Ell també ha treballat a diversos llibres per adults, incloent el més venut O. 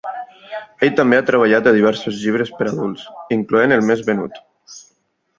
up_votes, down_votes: 1, 2